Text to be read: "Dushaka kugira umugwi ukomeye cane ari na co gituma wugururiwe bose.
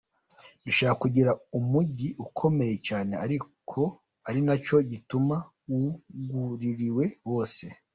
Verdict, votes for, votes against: rejected, 1, 2